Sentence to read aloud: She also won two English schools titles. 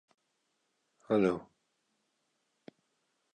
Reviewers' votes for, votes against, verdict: 0, 2, rejected